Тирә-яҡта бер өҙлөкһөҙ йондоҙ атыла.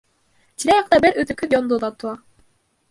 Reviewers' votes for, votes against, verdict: 2, 0, accepted